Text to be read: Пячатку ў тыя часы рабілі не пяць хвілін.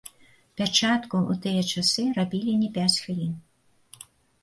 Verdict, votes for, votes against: rejected, 1, 2